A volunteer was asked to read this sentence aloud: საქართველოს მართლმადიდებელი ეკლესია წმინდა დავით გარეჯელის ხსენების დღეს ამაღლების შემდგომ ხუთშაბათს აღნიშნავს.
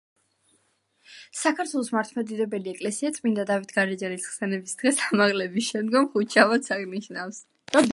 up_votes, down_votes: 0, 2